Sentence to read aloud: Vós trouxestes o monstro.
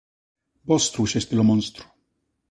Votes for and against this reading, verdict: 2, 1, accepted